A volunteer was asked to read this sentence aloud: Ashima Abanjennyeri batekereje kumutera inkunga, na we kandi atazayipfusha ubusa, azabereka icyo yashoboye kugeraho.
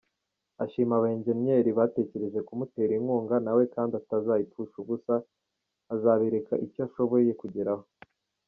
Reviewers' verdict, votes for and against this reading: rejected, 0, 2